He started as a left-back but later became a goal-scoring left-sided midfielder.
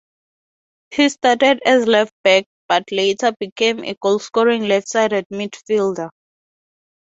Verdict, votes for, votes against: accepted, 4, 0